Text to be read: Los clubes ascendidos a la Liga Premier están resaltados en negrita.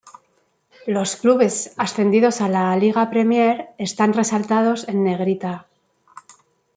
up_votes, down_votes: 2, 0